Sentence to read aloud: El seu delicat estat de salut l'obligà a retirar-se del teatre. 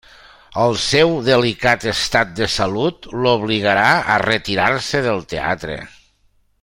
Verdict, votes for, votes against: rejected, 1, 2